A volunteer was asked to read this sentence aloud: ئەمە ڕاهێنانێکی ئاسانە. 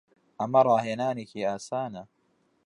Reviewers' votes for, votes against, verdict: 2, 0, accepted